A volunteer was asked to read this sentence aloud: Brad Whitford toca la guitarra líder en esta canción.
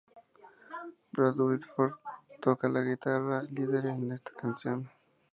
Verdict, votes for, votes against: accepted, 2, 0